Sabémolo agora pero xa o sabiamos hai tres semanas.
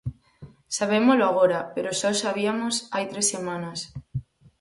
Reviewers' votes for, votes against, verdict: 0, 4, rejected